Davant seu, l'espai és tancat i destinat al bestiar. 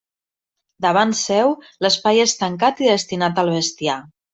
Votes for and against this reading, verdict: 2, 0, accepted